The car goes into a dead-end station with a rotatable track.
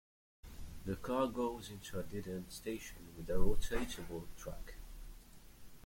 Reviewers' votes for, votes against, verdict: 0, 2, rejected